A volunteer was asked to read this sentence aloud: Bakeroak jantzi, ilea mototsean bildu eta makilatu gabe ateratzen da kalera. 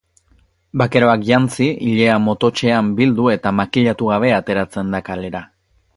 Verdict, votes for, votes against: accepted, 2, 0